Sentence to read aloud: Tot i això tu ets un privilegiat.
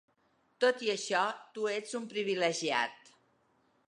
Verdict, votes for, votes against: accepted, 3, 0